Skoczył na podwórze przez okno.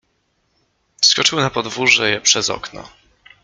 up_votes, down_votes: 1, 2